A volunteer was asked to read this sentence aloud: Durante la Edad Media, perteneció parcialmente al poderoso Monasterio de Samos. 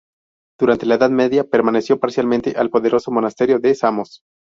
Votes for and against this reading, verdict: 0, 2, rejected